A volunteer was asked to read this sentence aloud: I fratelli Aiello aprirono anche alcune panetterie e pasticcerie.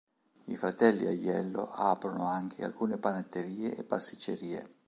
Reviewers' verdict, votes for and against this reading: rejected, 1, 2